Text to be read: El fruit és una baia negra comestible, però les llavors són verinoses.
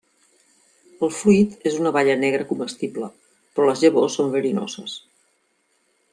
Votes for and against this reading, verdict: 2, 0, accepted